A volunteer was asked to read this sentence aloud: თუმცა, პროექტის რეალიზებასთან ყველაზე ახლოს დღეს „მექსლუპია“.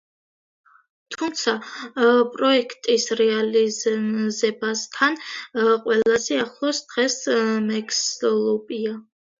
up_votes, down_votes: 1, 2